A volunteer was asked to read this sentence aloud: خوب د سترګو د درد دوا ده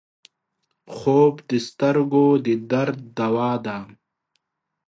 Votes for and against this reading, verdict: 2, 0, accepted